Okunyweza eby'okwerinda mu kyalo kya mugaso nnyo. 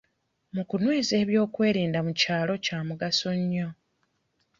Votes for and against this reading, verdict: 1, 2, rejected